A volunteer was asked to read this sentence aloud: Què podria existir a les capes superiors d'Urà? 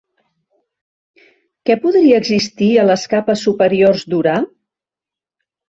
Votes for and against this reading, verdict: 2, 0, accepted